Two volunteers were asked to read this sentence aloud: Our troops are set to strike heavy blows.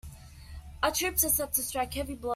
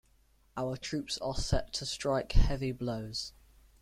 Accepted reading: second